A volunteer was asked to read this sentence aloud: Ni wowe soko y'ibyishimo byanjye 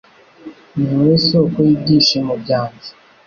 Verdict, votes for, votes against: accepted, 2, 0